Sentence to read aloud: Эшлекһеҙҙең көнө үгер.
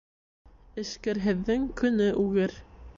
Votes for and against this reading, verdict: 0, 2, rejected